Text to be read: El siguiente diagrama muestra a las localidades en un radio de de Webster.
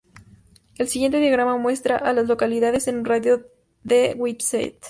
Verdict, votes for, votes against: rejected, 0, 2